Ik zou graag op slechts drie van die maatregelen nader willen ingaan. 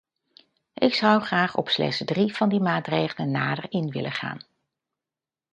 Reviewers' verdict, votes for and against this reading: rejected, 0, 2